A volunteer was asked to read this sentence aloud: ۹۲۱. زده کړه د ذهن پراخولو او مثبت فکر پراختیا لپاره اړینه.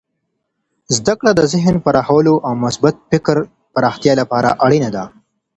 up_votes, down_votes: 0, 2